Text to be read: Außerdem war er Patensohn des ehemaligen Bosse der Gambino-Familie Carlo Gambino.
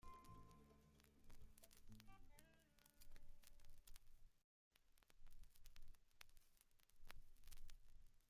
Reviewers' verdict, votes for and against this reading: rejected, 0, 2